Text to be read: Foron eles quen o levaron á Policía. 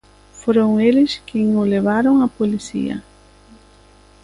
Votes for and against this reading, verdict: 2, 0, accepted